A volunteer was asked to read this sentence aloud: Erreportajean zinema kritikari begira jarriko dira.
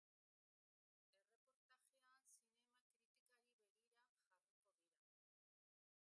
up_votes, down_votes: 0, 2